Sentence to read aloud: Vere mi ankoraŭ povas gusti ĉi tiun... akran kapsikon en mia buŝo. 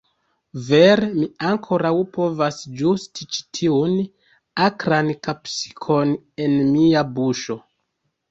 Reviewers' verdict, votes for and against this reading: rejected, 1, 2